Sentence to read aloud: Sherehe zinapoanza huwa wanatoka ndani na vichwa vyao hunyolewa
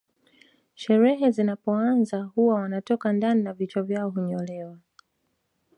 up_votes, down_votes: 2, 0